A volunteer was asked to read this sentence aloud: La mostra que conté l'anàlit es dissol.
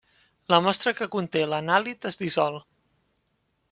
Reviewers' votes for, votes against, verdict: 3, 1, accepted